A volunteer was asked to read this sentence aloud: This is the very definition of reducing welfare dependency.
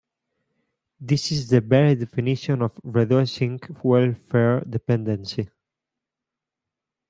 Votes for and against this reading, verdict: 2, 0, accepted